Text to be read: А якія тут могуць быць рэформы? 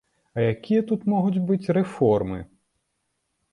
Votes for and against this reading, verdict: 3, 0, accepted